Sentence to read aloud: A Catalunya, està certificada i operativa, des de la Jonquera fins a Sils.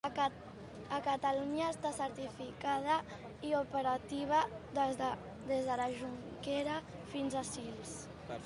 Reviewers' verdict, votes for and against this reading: rejected, 1, 2